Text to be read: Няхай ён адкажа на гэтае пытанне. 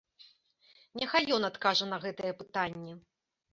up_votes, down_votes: 2, 0